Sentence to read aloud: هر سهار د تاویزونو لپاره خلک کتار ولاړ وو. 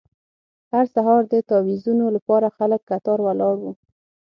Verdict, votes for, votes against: accepted, 9, 0